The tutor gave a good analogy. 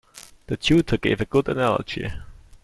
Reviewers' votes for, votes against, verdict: 2, 0, accepted